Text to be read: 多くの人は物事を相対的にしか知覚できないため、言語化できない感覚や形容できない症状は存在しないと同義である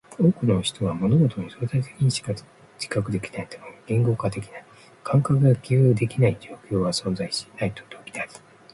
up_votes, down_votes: 0, 2